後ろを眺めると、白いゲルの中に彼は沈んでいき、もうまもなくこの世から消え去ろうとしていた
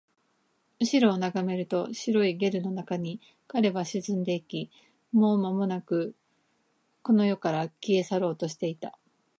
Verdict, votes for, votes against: rejected, 1, 2